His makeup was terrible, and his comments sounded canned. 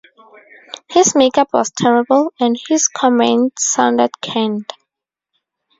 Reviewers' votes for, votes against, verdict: 2, 0, accepted